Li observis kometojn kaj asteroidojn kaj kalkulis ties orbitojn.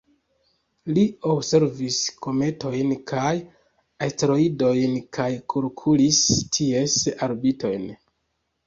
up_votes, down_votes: 2, 1